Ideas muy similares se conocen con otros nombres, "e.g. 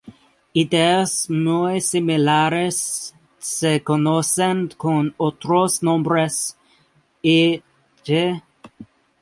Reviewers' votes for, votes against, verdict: 0, 2, rejected